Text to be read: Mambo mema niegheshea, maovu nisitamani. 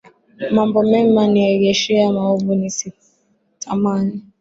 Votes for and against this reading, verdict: 3, 1, accepted